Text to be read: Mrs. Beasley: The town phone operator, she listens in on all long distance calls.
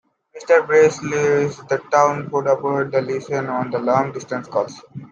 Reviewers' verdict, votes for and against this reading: rejected, 1, 2